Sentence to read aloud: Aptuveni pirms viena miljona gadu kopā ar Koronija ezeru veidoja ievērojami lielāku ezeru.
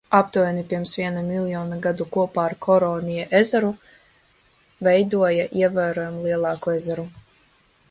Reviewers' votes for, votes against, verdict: 2, 0, accepted